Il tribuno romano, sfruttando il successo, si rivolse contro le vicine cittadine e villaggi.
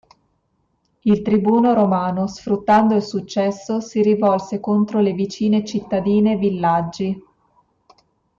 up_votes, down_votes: 2, 0